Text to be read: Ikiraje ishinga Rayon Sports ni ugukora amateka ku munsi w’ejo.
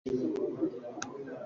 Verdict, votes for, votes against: rejected, 0, 2